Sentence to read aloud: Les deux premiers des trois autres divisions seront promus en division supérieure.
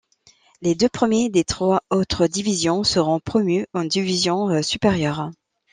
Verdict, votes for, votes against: accepted, 2, 0